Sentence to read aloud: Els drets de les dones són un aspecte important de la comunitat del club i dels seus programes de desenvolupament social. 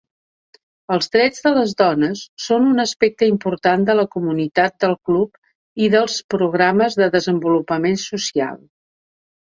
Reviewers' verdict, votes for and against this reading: accepted, 2, 1